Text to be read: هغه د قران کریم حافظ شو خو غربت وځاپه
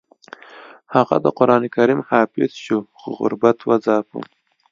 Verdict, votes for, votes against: rejected, 0, 2